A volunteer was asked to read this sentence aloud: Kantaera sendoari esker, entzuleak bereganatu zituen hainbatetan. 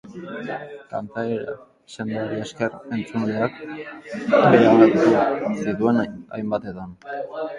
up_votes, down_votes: 2, 2